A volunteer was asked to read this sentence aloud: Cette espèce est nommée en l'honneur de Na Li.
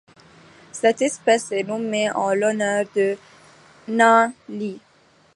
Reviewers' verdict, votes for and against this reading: accepted, 2, 0